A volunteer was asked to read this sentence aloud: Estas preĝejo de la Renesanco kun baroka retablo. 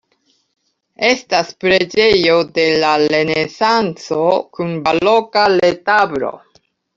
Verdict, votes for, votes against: rejected, 0, 2